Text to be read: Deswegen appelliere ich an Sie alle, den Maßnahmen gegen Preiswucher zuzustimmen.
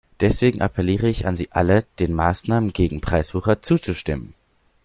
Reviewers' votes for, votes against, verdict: 2, 0, accepted